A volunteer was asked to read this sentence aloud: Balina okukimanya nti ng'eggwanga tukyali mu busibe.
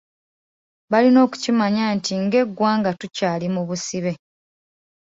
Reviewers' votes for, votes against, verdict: 2, 0, accepted